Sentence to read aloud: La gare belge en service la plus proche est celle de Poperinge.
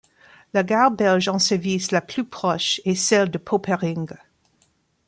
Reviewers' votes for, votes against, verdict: 1, 2, rejected